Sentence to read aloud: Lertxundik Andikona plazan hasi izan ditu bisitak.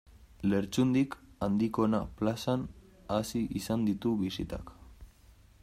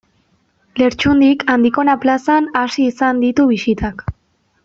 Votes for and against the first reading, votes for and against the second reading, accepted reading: 1, 2, 2, 0, second